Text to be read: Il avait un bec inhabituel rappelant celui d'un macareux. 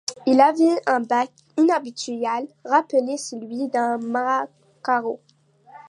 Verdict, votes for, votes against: rejected, 0, 2